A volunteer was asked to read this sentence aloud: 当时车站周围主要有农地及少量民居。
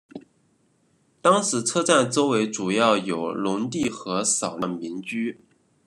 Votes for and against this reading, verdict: 1, 2, rejected